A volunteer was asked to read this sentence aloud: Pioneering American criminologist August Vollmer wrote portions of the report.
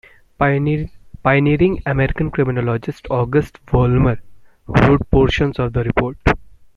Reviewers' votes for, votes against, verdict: 1, 2, rejected